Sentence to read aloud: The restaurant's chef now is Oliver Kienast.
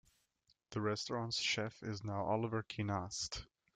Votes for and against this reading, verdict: 0, 2, rejected